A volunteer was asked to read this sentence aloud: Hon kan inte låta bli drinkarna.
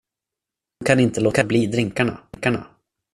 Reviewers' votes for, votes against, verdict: 0, 2, rejected